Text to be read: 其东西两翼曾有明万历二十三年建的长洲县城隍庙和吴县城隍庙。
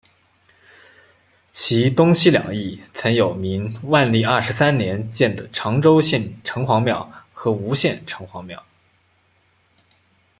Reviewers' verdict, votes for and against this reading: accepted, 2, 0